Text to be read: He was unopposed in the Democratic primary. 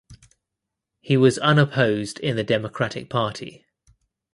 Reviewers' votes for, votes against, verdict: 0, 2, rejected